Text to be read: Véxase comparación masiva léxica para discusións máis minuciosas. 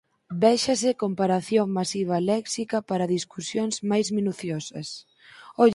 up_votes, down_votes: 2, 4